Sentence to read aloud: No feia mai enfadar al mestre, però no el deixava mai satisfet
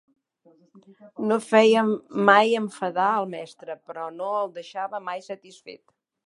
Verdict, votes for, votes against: accepted, 4, 0